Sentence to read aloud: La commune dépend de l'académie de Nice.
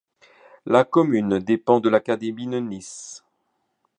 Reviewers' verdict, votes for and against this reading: rejected, 1, 2